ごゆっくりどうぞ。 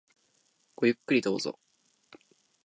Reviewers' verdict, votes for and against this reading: accepted, 2, 0